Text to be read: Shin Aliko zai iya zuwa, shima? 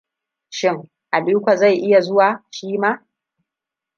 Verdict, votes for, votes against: rejected, 1, 2